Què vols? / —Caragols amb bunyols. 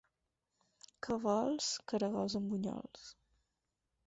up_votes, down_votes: 4, 0